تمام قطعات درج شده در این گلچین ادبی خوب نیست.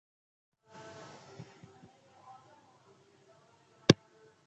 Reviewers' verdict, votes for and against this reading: rejected, 0, 3